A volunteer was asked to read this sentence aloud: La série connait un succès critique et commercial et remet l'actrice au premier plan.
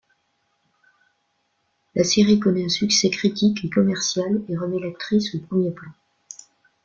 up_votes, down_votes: 2, 0